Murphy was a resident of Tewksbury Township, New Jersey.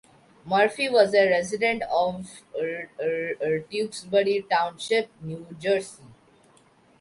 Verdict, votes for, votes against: rejected, 0, 2